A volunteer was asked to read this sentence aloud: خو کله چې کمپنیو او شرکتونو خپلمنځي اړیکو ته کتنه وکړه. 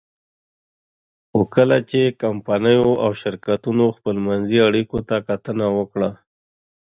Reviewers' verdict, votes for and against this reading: accepted, 2, 0